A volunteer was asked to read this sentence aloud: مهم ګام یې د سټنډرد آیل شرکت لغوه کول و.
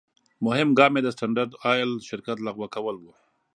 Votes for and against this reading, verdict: 2, 0, accepted